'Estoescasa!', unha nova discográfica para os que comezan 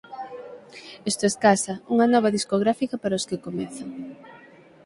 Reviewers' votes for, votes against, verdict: 6, 0, accepted